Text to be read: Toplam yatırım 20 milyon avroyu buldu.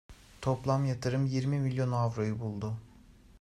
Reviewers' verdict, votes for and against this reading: rejected, 0, 2